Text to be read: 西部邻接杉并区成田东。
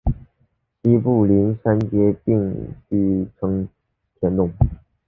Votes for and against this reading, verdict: 2, 0, accepted